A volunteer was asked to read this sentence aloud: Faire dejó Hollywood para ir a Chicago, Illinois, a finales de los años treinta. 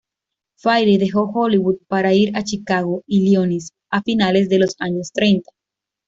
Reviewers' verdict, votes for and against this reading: accepted, 2, 0